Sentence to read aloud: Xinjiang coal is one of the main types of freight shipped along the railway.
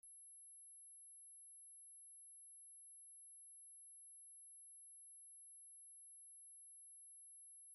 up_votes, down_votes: 0, 2